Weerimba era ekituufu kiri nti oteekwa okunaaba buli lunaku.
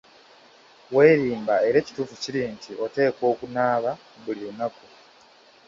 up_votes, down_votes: 2, 1